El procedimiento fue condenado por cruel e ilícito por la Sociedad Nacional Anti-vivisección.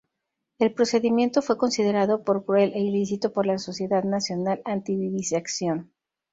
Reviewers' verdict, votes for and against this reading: rejected, 0, 2